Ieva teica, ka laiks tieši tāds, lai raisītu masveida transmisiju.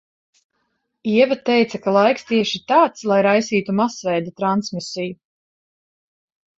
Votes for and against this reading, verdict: 2, 0, accepted